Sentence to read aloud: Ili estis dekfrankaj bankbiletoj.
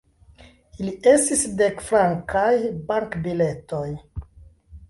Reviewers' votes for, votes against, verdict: 0, 2, rejected